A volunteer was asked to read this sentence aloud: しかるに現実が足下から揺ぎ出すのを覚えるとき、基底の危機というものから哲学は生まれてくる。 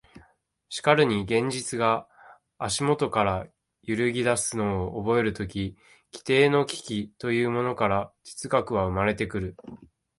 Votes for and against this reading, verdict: 1, 2, rejected